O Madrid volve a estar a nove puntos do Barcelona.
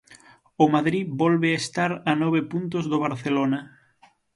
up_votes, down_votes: 6, 0